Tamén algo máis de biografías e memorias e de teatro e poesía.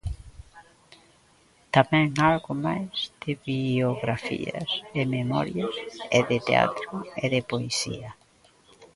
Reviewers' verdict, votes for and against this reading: rejected, 0, 2